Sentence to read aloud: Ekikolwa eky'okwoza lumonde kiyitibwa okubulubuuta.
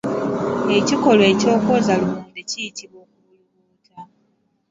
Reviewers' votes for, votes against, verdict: 1, 3, rejected